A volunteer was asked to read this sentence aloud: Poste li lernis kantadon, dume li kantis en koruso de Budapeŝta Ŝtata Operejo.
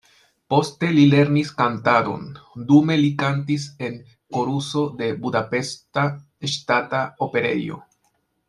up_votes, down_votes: 0, 2